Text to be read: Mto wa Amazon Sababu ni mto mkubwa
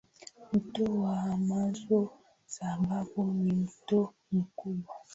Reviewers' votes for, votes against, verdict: 1, 2, rejected